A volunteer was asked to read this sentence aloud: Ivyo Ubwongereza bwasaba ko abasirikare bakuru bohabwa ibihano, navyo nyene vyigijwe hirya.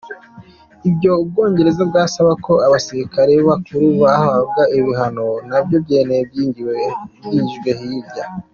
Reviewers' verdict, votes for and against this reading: rejected, 0, 2